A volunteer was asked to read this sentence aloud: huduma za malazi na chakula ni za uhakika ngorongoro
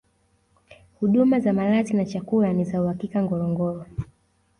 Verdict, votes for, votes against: accepted, 2, 0